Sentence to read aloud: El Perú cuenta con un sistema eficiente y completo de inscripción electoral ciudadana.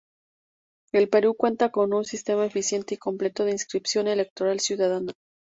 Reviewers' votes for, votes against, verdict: 2, 0, accepted